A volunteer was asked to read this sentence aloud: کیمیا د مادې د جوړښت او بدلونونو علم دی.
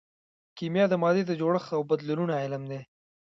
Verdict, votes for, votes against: accepted, 2, 0